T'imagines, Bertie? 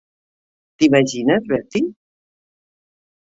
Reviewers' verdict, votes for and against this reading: accepted, 3, 0